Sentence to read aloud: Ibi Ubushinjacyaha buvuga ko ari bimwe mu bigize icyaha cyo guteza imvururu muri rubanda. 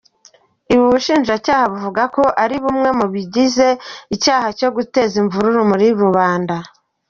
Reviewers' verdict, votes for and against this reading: accepted, 2, 0